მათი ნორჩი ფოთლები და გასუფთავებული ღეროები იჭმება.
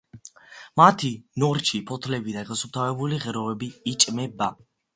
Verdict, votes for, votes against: accepted, 2, 0